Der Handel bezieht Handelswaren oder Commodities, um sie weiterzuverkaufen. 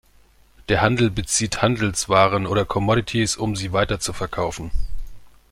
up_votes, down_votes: 2, 1